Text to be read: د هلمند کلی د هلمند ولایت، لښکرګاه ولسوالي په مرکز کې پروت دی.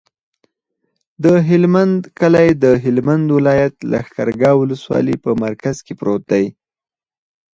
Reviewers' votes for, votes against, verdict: 4, 2, accepted